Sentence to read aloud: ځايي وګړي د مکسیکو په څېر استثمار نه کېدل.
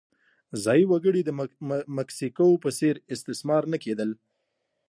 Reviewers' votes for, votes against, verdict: 2, 0, accepted